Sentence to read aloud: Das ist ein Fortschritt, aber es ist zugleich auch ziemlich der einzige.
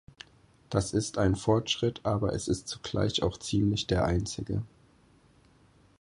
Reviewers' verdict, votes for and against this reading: accepted, 4, 0